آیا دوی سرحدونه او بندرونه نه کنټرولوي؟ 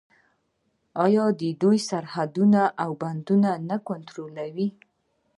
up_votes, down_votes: 2, 1